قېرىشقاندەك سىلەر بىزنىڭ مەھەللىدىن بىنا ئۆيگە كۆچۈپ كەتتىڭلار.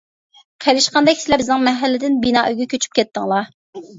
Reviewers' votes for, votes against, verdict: 0, 2, rejected